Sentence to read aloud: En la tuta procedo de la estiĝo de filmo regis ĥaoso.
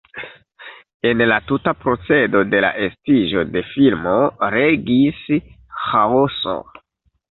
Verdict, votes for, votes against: rejected, 1, 2